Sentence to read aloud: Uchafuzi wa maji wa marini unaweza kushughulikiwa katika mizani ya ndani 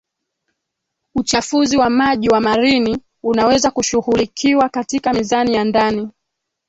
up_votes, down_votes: 0, 2